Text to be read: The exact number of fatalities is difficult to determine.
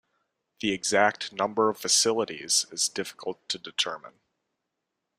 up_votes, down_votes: 1, 2